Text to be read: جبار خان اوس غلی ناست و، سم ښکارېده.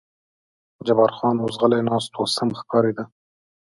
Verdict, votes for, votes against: accepted, 2, 0